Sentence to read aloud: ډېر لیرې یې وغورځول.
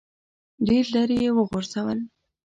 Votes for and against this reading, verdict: 0, 2, rejected